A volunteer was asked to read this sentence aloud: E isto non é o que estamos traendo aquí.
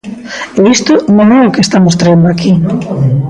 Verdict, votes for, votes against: rejected, 0, 2